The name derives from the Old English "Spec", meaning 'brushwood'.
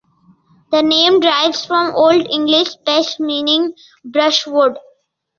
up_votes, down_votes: 1, 2